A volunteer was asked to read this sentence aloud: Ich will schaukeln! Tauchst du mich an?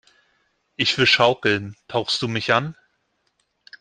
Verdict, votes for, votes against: accepted, 2, 0